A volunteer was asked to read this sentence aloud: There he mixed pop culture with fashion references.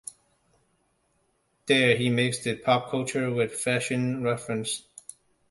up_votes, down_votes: 2, 1